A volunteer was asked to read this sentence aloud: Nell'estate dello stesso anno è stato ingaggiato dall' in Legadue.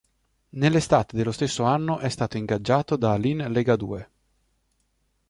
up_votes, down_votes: 1, 2